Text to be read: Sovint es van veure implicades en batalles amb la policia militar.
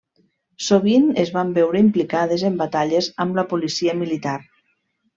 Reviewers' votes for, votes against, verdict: 3, 0, accepted